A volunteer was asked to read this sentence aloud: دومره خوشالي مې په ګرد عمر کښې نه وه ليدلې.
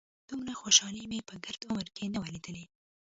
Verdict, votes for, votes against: rejected, 0, 2